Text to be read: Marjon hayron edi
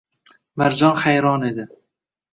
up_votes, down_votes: 1, 2